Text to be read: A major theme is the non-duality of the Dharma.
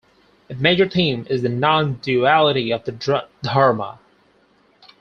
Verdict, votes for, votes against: rejected, 0, 4